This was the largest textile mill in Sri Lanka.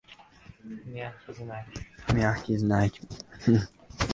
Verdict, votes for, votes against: rejected, 0, 2